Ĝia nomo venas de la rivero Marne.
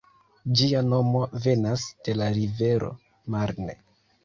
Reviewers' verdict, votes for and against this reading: rejected, 1, 2